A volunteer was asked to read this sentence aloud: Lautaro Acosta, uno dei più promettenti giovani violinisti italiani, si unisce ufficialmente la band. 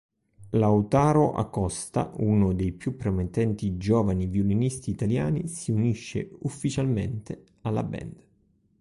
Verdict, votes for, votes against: rejected, 1, 3